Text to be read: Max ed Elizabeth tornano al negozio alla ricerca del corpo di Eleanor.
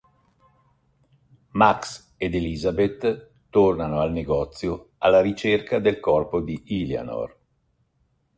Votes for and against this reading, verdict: 0, 2, rejected